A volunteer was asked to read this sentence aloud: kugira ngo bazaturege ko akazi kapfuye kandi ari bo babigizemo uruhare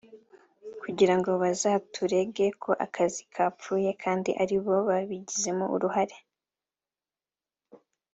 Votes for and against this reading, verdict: 2, 0, accepted